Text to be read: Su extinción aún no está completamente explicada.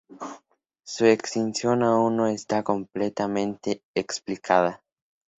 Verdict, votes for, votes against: accepted, 2, 0